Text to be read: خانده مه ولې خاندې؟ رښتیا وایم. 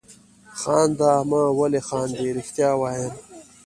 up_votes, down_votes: 2, 1